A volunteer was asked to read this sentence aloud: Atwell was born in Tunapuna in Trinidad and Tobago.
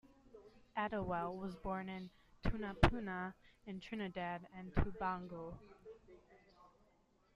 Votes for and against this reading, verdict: 0, 2, rejected